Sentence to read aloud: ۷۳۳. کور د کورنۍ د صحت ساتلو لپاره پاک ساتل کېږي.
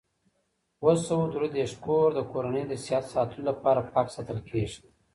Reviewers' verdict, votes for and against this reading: rejected, 0, 2